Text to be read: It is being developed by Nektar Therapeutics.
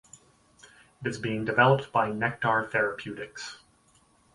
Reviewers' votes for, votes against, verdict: 4, 0, accepted